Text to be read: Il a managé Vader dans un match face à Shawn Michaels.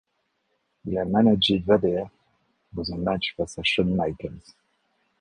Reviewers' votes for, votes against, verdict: 2, 1, accepted